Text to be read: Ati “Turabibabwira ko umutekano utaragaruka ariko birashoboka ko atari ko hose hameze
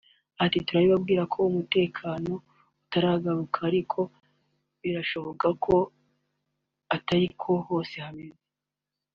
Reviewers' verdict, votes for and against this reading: accepted, 2, 0